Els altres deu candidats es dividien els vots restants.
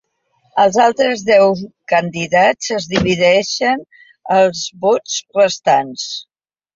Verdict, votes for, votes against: accepted, 2, 0